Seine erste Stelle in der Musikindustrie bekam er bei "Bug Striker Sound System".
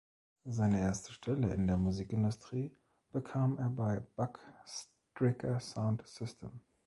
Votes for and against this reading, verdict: 1, 2, rejected